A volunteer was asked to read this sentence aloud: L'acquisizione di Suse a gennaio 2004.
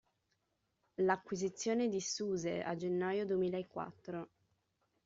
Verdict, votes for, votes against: rejected, 0, 2